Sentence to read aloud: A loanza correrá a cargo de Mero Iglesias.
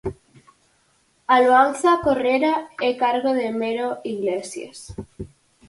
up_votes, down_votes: 0, 4